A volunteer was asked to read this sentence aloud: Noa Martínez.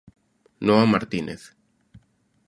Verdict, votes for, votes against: accepted, 2, 0